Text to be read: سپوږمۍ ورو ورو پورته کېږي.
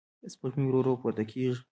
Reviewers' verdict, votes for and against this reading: rejected, 1, 2